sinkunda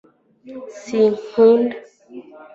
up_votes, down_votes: 2, 0